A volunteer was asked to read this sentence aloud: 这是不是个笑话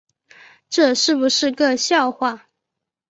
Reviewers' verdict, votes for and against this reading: accepted, 3, 0